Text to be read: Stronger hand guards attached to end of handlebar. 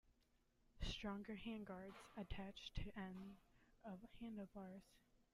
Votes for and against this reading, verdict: 0, 2, rejected